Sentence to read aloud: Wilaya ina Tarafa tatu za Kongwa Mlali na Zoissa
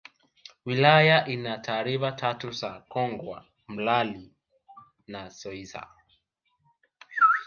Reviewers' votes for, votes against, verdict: 0, 2, rejected